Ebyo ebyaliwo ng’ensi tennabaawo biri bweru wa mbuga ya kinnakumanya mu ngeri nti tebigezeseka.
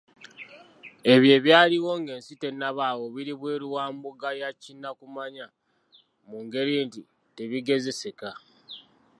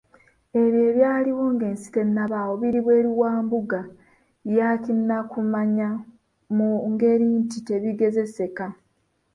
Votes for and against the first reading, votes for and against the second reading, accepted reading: 2, 0, 0, 2, first